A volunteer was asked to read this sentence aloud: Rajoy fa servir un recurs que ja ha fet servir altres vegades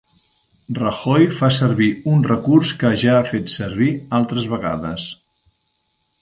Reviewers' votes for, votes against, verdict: 2, 1, accepted